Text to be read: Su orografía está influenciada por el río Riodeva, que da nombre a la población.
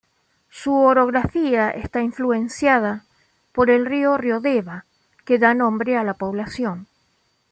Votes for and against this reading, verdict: 2, 0, accepted